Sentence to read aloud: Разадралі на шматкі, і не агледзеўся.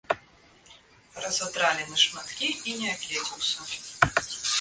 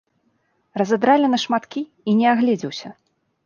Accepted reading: second